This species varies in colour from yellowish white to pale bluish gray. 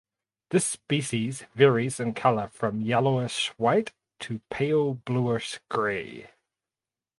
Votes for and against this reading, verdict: 4, 0, accepted